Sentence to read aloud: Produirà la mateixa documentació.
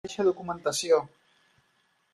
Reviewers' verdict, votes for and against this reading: rejected, 0, 2